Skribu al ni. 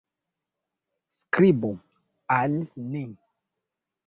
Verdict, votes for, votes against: accepted, 2, 0